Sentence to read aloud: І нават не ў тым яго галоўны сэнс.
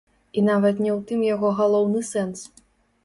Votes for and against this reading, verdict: 1, 2, rejected